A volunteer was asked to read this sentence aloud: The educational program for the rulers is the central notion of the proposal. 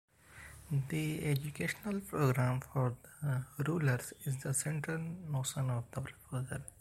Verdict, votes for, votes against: rejected, 0, 2